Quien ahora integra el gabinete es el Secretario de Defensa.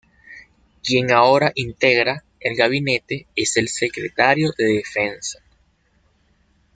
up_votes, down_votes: 2, 0